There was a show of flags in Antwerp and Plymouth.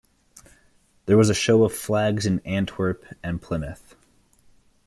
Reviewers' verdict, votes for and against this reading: accepted, 2, 0